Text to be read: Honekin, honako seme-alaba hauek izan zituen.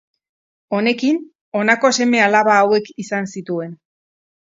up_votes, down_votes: 2, 0